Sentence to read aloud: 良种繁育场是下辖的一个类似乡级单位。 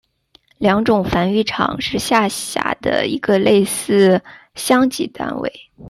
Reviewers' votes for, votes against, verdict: 2, 0, accepted